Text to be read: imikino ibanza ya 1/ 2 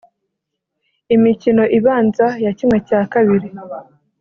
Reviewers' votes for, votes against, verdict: 0, 2, rejected